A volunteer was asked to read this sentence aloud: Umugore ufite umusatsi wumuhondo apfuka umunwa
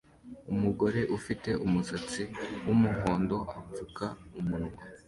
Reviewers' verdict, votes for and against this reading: accepted, 2, 0